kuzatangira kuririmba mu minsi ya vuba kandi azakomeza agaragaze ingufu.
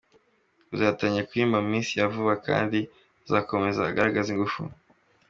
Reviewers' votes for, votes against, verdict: 2, 0, accepted